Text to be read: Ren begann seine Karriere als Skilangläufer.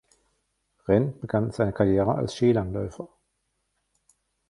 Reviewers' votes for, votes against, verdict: 1, 2, rejected